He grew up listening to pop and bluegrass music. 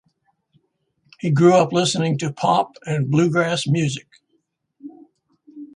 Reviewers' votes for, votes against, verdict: 0, 2, rejected